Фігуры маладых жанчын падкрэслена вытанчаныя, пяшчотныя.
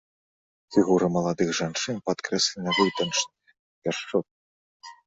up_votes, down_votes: 1, 2